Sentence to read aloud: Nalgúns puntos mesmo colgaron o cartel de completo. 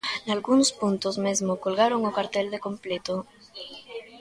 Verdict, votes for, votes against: rejected, 1, 2